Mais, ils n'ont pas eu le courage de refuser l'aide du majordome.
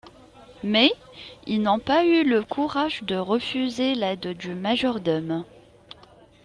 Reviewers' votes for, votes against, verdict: 2, 0, accepted